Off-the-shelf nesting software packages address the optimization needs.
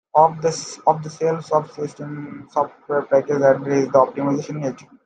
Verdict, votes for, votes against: rejected, 0, 2